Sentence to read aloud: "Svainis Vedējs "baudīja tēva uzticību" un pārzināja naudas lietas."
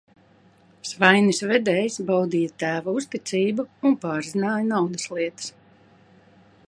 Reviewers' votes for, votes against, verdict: 2, 0, accepted